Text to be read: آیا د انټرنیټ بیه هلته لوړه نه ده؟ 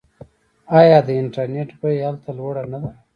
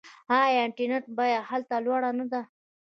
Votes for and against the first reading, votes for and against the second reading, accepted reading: 1, 2, 2, 0, second